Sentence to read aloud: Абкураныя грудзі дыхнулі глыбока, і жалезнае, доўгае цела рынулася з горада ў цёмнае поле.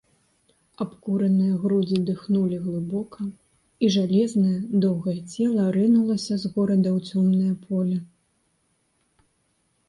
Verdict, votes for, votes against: accepted, 2, 0